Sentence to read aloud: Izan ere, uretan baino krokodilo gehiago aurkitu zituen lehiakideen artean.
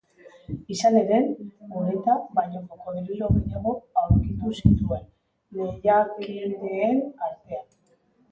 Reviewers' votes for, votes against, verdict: 0, 2, rejected